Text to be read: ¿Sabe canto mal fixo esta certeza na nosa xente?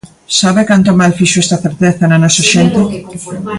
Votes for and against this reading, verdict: 1, 2, rejected